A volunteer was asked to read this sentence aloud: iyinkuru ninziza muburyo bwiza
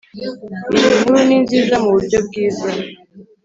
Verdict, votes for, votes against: accepted, 3, 0